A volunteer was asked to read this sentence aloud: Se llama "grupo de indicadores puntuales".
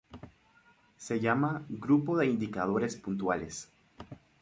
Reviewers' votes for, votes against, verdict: 2, 2, rejected